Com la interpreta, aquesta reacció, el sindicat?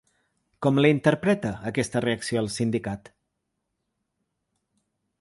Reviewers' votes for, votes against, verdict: 2, 0, accepted